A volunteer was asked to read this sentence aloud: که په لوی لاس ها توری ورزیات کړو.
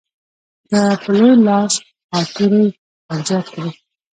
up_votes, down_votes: 1, 2